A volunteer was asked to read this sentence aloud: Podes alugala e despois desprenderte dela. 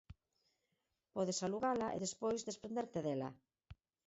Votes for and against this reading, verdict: 0, 4, rejected